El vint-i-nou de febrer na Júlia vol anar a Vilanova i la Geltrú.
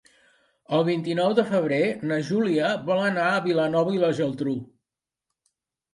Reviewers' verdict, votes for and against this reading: accepted, 2, 0